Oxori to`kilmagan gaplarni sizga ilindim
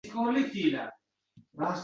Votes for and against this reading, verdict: 0, 2, rejected